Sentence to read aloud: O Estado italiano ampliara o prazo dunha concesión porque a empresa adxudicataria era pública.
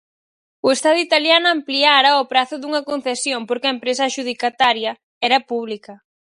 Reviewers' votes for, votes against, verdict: 4, 0, accepted